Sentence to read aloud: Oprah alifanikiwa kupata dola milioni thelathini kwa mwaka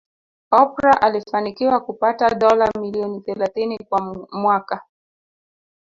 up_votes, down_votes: 1, 2